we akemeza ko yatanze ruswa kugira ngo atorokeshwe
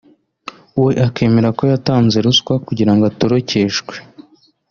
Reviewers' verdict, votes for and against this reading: rejected, 0, 2